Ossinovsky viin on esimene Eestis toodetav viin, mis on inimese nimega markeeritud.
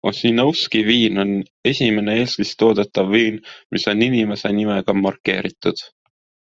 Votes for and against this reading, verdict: 2, 0, accepted